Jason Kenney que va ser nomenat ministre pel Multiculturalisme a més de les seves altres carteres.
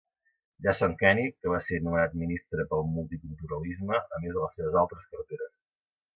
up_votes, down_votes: 2, 1